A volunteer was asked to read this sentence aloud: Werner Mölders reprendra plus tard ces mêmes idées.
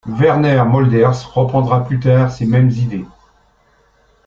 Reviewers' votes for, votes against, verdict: 1, 2, rejected